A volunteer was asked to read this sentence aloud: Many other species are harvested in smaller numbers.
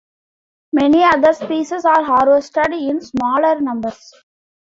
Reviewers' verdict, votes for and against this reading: accepted, 2, 1